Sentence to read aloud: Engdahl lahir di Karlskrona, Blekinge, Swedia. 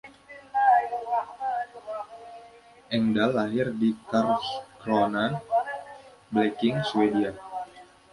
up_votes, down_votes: 1, 2